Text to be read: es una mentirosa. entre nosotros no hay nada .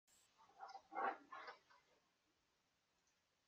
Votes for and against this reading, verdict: 0, 2, rejected